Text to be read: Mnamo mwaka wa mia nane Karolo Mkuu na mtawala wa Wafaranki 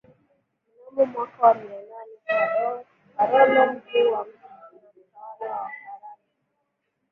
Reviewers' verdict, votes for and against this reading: rejected, 0, 2